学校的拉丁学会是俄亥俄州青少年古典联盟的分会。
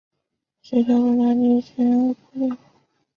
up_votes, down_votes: 0, 2